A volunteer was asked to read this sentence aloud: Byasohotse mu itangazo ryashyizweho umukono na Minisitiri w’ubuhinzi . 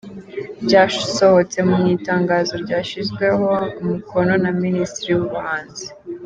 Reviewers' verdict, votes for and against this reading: rejected, 1, 2